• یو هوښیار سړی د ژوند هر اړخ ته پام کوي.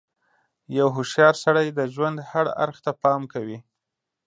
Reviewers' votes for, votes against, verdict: 3, 1, accepted